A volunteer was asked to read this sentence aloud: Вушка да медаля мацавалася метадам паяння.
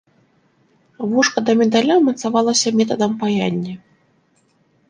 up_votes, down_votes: 2, 0